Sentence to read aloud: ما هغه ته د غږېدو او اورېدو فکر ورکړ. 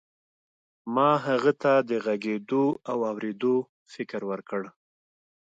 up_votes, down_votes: 2, 0